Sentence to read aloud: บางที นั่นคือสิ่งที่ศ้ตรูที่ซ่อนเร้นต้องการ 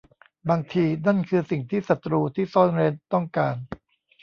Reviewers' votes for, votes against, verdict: 2, 0, accepted